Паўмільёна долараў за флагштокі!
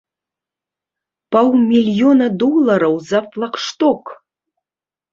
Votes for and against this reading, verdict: 0, 2, rejected